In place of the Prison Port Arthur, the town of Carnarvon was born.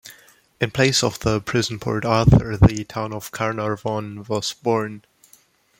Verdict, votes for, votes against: accepted, 2, 0